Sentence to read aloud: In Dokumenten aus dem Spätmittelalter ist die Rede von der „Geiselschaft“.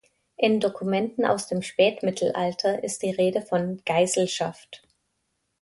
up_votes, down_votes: 0, 2